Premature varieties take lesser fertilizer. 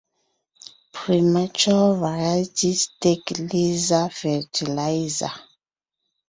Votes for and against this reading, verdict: 1, 2, rejected